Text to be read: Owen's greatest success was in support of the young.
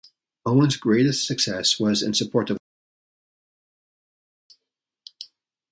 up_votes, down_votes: 0, 2